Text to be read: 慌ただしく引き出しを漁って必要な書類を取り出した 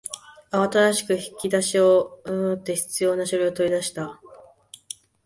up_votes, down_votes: 0, 2